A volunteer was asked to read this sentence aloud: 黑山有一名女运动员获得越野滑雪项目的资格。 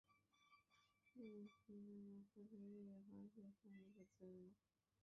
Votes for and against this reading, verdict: 0, 2, rejected